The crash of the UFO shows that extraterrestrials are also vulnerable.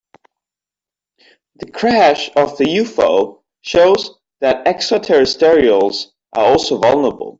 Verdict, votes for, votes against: rejected, 1, 2